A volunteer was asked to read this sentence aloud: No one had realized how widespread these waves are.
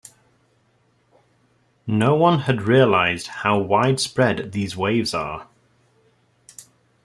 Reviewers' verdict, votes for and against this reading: rejected, 0, 2